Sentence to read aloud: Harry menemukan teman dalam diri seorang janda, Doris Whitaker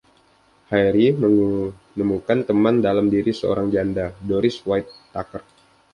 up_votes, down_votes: 1, 2